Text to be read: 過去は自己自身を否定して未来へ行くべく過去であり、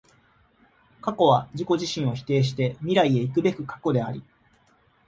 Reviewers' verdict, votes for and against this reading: accepted, 2, 0